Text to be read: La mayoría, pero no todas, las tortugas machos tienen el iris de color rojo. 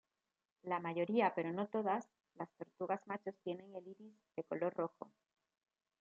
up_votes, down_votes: 1, 2